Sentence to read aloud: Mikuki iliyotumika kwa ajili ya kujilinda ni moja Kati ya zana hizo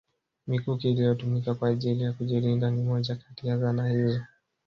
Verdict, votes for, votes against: rejected, 0, 2